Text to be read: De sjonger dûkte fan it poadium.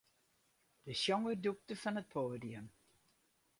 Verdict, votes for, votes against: rejected, 0, 4